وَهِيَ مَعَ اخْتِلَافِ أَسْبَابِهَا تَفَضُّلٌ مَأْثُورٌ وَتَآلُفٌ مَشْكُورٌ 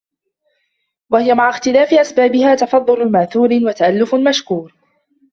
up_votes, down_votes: 0, 2